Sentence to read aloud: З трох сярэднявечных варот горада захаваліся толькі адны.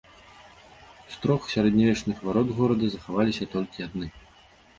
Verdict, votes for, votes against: accepted, 2, 0